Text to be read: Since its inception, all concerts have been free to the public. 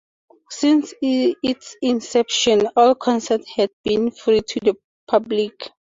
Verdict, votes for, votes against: rejected, 0, 2